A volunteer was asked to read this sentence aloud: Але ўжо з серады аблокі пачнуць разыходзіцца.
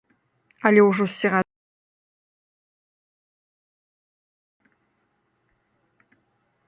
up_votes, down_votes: 0, 2